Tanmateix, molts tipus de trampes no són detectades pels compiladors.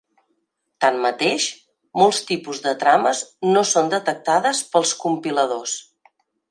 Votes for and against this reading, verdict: 0, 2, rejected